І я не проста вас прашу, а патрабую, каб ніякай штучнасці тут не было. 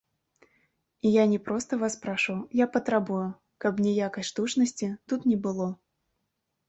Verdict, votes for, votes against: rejected, 1, 2